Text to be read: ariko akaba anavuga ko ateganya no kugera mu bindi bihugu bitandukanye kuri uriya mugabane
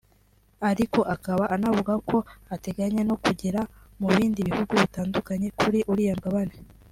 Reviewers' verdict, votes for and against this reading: accepted, 2, 1